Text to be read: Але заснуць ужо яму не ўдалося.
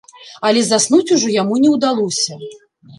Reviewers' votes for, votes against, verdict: 2, 0, accepted